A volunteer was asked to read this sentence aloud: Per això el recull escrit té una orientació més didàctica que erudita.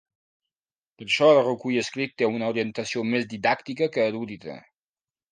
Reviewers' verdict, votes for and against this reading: rejected, 1, 2